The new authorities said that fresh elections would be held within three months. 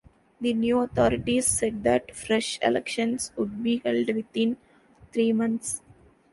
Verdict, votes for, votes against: accepted, 2, 0